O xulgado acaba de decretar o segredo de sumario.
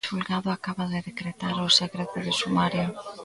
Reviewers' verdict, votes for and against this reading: rejected, 0, 2